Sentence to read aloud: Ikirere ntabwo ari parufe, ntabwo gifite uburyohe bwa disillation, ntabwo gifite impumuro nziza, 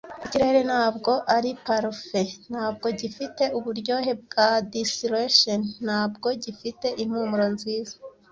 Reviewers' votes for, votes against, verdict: 0, 2, rejected